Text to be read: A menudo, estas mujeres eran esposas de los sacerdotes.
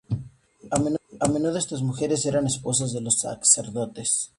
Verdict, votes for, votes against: rejected, 0, 2